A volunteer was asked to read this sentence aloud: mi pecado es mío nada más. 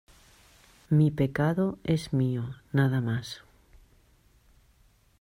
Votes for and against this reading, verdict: 2, 0, accepted